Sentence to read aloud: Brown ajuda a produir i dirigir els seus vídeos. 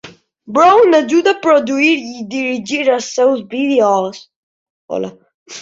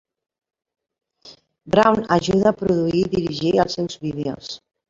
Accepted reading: second